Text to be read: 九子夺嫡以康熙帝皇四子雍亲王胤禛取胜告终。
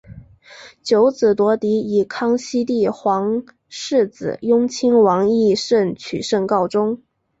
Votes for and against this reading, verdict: 3, 2, accepted